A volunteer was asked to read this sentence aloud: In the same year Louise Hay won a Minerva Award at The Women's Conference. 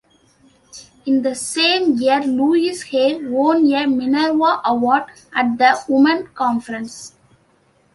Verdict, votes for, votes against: rejected, 0, 2